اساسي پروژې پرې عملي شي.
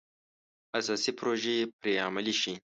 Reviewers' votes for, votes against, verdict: 2, 0, accepted